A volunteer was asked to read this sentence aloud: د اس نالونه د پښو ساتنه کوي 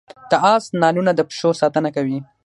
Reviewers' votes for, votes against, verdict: 0, 6, rejected